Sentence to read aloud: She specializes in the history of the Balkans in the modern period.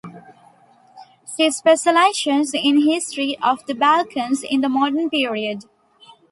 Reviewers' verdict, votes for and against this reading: rejected, 0, 2